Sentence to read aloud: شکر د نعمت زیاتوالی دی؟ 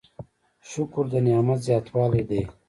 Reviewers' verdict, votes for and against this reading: rejected, 0, 2